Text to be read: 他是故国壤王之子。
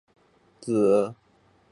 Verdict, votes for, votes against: rejected, 0, 3